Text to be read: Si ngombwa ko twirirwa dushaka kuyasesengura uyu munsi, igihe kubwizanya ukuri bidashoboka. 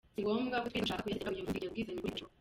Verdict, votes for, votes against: rejected, 0, 2